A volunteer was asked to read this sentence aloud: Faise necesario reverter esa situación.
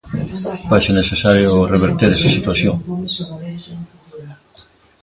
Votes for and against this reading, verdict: 2, 1, accepted